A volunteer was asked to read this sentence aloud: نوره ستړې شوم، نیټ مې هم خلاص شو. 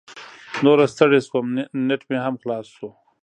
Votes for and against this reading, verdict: 2, 0, accepted